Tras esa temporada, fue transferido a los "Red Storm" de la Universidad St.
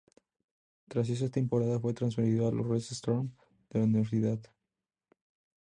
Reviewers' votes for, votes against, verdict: 0, 2, rejected